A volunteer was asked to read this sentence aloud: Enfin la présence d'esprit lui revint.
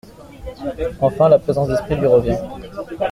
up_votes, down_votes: 1, 2